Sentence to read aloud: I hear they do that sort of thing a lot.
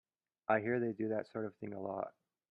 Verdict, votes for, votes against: accepted, 2, 0